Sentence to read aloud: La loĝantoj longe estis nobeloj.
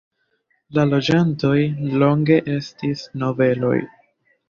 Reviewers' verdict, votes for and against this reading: accepted, 2, 0